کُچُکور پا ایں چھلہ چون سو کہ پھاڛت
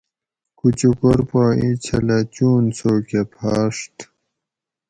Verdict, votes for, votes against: accepted, 4, 0